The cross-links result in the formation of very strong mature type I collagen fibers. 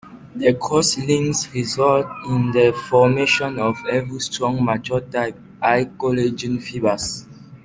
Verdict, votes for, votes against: rejected, 0, 2